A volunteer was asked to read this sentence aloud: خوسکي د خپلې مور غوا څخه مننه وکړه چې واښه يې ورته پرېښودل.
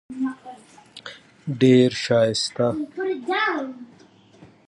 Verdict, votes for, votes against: rejected, 0, 3